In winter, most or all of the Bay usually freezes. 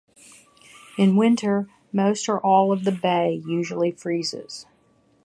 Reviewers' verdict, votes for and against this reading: accepted, 3, 0